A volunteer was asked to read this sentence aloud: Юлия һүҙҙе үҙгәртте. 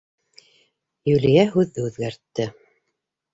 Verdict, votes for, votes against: accepted, 3, 0